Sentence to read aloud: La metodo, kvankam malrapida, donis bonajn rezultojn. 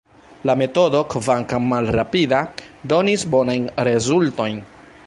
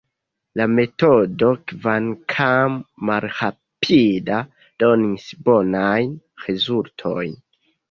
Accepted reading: first